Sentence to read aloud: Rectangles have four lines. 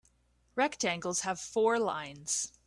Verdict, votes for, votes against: accepted, 2, 0